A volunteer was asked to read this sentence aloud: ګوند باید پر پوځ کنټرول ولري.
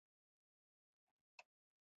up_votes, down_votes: 1, 2